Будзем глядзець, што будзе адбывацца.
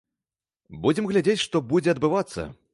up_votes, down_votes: 3, 0